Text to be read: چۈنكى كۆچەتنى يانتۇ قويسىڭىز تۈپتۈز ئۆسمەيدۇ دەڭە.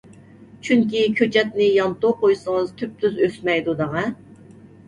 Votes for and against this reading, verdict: 2, 0, accepted